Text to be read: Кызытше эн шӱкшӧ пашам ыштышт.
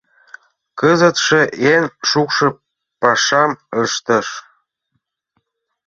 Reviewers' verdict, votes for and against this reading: rejected, 0, 2